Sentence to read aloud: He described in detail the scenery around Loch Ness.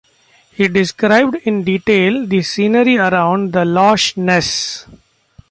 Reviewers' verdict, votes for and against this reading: rejected, 0, 2